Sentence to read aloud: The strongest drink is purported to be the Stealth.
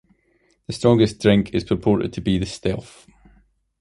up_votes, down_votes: 2, 1